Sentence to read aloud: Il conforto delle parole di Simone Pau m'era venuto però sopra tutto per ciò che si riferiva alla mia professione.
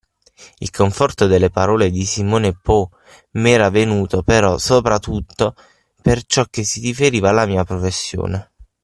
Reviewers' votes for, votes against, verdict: 0, 6, rejected